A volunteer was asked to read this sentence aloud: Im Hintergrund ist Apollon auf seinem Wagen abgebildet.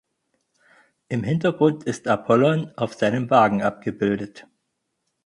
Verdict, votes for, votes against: accepted, 4, 0